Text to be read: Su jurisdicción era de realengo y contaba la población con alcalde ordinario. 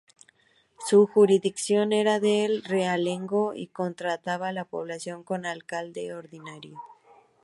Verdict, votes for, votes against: rejected, 0, 2